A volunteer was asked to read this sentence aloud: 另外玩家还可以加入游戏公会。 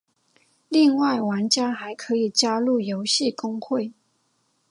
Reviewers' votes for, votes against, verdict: 5, 1, accepted